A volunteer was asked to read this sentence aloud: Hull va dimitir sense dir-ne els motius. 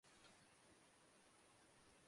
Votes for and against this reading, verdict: 0, 2, rejected